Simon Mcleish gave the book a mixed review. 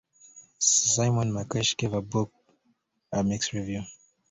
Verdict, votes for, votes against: rejected, 2, 3